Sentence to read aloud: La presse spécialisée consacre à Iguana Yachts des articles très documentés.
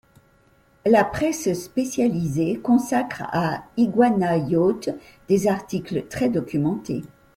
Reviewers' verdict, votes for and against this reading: accepted, 2, 0